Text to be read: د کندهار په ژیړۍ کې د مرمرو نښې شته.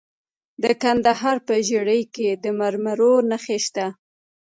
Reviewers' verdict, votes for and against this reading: rejected, 1, 2